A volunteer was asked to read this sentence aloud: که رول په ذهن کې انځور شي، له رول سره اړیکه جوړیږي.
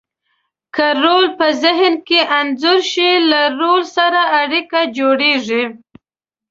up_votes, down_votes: 2, 0